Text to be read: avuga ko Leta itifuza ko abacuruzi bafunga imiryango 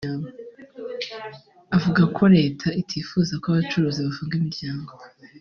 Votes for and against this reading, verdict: 3, 0, accepted